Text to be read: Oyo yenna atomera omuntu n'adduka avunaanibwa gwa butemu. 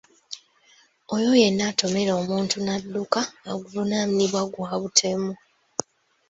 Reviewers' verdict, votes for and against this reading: accepted, 2, 1